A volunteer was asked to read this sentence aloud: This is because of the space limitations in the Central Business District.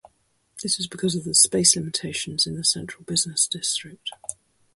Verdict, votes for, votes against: accepted, 2, 0